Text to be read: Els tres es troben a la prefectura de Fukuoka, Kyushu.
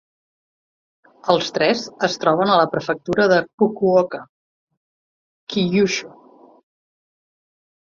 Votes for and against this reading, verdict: 2, 0, accepted